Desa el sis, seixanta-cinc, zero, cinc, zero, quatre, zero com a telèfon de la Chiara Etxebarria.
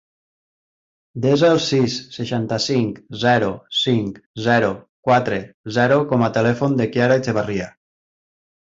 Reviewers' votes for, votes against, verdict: 0, 2, rejected